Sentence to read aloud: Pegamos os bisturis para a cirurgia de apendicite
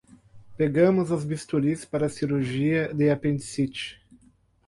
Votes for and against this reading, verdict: 4, 0, accepted